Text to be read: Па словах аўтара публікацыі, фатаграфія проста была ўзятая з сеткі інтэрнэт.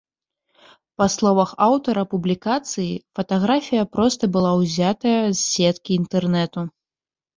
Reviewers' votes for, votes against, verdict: 0, 2, rejected